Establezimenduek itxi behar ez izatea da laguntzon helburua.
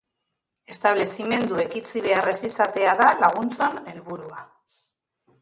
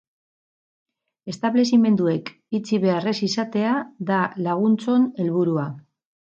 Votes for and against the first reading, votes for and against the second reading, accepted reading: 0, 2, 4, 0, second